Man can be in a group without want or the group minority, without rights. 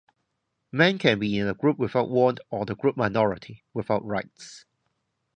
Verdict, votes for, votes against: rejected, 0, 2